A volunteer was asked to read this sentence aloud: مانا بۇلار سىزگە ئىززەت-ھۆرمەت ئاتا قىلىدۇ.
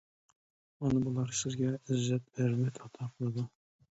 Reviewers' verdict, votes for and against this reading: rejected, 0, 2